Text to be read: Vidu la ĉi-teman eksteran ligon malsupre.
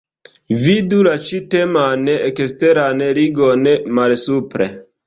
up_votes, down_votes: 4, 0